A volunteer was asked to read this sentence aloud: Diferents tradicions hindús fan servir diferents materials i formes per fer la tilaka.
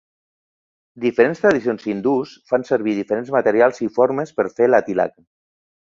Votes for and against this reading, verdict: 4, 0, accepted